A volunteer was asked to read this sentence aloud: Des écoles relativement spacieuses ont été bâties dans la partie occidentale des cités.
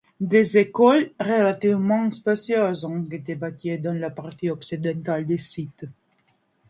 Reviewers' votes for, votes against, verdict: 2, 1, accepted